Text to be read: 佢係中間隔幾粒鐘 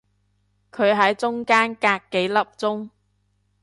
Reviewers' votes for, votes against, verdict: 0, 3, rejected